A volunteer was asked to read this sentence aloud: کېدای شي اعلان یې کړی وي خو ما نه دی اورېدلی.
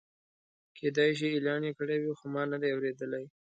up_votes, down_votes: 2, 0